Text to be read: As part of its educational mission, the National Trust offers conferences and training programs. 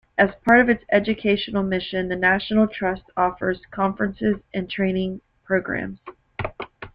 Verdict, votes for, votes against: accepted, 2, 0